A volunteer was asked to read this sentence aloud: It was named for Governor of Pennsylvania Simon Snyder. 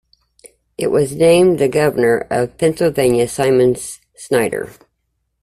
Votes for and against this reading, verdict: 0, 2, rejected